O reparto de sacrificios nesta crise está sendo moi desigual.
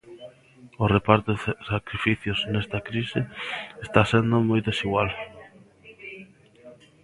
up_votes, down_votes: 0, 2